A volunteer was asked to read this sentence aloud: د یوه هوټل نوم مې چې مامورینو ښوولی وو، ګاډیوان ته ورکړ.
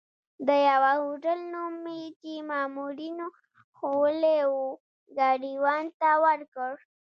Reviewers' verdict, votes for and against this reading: accepted, 2, 0